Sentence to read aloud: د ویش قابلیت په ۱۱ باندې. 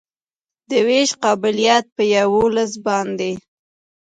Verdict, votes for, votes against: rejected, 0, 2